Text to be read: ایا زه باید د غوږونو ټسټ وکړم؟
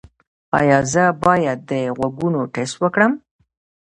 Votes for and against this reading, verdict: 1, 2, rejected